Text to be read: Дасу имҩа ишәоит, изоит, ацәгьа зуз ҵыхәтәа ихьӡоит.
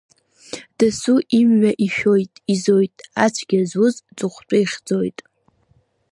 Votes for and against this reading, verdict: 2, 0, accepted